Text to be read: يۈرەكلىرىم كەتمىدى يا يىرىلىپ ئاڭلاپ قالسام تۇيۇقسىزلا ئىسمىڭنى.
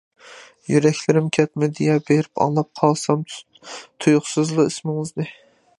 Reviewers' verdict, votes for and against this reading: rejected, 0, 2